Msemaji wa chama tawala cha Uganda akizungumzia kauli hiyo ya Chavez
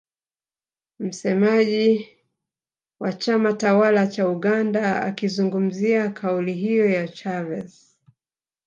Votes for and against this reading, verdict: 2, 0, accepted